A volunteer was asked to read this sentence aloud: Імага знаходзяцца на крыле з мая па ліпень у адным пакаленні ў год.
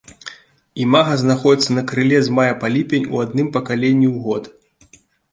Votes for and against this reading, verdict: 2, 0, accepted